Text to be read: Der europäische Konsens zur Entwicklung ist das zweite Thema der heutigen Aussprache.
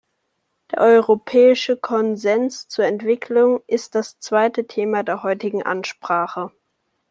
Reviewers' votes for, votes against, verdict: 0, 2, rejected